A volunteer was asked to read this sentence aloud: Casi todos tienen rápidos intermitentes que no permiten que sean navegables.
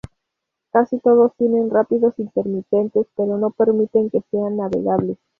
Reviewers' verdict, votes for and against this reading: accepted, 2, 0